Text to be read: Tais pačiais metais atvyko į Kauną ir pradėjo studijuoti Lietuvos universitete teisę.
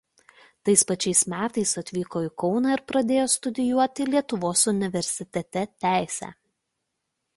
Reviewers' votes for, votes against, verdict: 2, 0, accepted